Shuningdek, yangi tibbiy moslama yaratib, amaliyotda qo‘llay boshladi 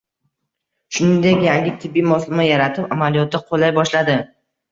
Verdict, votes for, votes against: accepted, 2, 0